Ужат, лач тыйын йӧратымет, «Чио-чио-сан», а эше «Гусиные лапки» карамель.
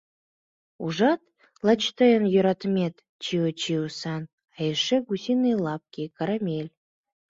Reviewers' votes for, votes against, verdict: 2, 0, accepted